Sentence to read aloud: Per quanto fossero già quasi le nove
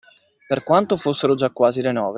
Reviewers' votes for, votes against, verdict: 2, 1, accepted